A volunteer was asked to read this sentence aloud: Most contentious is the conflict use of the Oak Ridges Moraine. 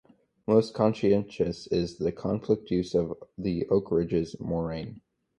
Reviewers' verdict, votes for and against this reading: accepted, 4, 2